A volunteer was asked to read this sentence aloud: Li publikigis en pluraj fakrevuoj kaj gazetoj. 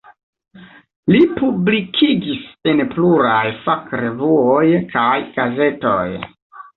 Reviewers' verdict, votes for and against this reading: accepted, 2, 0